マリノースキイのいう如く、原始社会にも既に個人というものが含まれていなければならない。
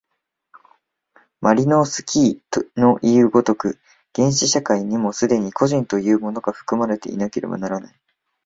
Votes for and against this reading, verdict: 1, 2, rejected